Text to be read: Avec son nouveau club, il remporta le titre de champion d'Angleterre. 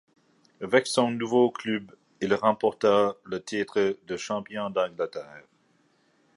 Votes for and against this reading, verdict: 1, 2, rejected